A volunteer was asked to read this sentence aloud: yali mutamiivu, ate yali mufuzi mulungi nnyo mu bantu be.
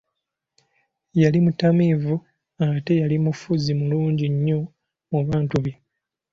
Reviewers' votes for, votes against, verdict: 2, 0, accepted